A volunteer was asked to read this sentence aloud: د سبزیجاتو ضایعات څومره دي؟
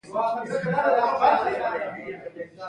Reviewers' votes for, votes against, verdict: 1, 2, rejected